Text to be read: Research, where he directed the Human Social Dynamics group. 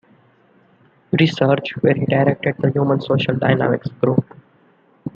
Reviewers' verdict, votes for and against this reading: accepted, 2, 0